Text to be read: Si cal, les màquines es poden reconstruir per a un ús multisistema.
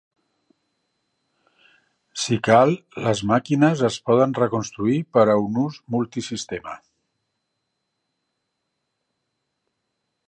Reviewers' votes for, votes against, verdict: 4, 0, accepted